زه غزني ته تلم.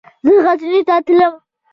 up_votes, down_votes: 0, 2